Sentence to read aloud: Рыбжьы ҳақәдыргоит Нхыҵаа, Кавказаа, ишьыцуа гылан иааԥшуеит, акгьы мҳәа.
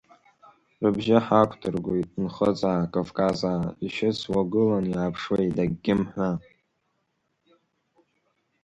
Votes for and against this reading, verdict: 2, 0, accepted